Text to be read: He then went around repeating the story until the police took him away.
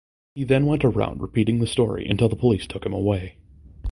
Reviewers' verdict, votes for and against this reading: accepted, 2, 0